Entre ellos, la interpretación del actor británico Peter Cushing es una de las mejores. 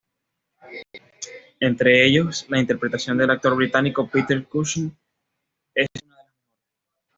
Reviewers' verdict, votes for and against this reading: rejected, 1, 2